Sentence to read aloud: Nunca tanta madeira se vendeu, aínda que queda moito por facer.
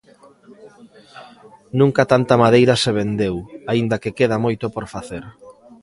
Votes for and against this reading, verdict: 1, 2, rejected